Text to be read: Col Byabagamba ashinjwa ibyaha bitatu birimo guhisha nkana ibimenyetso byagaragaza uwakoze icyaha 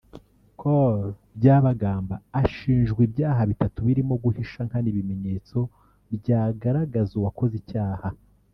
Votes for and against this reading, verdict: 1, 2, rejected